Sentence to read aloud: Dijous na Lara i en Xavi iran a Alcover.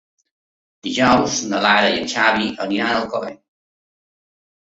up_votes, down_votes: 0, 2